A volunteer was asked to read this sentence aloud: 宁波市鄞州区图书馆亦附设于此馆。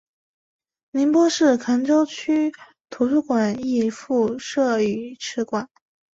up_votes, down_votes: 2, 3